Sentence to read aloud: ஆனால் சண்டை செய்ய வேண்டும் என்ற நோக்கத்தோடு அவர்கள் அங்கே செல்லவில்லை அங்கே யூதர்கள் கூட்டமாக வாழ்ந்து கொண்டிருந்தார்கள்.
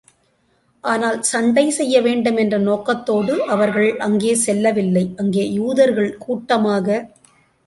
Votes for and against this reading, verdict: 0, 2, rejected